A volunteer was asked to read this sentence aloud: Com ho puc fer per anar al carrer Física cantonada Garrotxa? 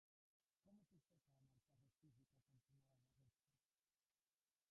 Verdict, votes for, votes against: rejected, 1, 2